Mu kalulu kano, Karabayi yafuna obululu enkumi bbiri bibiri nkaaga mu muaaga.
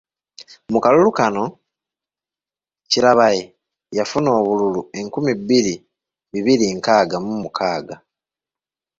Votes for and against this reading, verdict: 2, 1, accepted